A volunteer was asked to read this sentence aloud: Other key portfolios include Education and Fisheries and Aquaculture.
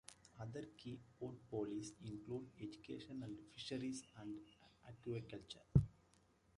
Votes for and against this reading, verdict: 2, 1, accepted